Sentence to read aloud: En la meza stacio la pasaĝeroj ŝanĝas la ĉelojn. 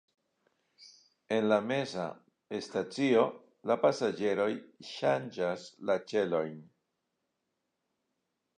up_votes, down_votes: 2, 1